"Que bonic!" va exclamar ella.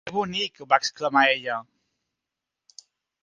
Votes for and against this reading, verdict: 1, 2, rejected